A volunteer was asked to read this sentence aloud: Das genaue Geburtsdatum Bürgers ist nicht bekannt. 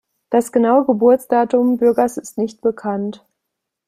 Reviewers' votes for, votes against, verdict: 2, 0, accepted